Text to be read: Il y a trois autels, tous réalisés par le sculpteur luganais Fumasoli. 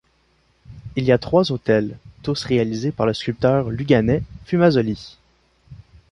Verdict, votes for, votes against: accepted, 2, 0